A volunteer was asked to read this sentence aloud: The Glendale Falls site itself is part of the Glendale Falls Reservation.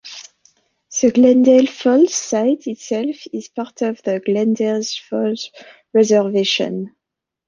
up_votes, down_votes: 0, 2